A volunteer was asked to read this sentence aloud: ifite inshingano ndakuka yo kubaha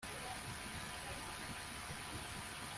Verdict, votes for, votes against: rejected, 1, 2